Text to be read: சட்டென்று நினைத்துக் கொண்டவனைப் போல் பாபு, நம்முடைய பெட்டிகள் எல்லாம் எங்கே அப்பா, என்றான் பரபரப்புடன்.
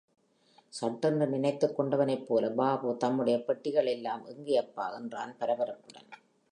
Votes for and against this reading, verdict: 2, 0, accepted